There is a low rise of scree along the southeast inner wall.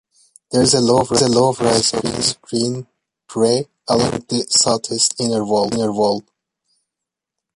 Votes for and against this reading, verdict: 0, 3, rejected